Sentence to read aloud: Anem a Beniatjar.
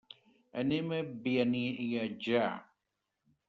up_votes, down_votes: 0, 2